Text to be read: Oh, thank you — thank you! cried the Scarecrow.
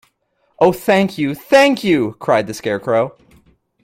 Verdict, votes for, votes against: accepted, 2, 0